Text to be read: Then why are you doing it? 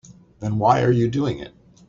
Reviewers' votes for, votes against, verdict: 2, 0, accepted